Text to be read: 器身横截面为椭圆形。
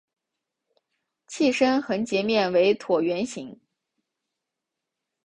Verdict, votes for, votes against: accepted, 7, 0